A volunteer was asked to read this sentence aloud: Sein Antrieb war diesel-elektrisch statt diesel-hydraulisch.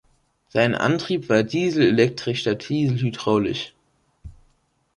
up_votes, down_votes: 1, 2